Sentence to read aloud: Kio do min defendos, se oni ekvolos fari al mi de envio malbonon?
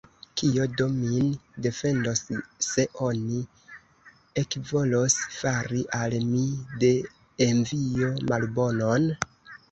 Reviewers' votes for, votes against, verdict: 1, 2, rejected